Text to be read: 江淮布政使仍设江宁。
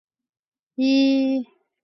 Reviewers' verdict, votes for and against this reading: rejected, 0, 3